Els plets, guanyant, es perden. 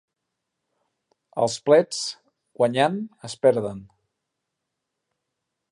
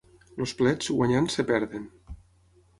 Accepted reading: first